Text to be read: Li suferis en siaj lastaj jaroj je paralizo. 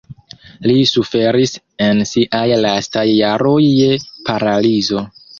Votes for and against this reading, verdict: 3, 1, accepted